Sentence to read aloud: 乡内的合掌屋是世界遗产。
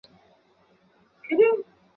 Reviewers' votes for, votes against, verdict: 2, 3, rejected